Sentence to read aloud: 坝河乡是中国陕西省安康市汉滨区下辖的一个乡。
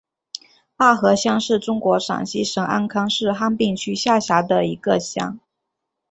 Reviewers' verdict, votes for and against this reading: accepted, 2, 0